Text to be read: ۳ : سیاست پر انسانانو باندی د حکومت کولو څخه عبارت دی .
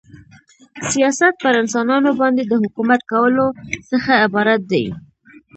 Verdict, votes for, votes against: rejected, 0, 2